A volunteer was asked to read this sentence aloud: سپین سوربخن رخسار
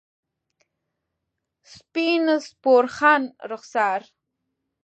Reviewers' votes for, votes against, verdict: 0, 2, rejected